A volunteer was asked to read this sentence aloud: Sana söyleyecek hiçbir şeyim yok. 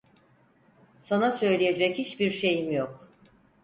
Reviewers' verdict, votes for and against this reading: accepted, 4, 0